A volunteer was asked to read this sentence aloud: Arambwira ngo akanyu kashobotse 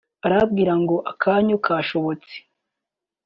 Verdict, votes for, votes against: accepted, 2, 0